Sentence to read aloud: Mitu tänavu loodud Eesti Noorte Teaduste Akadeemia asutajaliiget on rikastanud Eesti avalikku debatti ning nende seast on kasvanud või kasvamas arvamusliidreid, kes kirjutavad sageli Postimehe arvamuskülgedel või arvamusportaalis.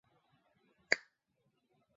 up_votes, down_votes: 0, 2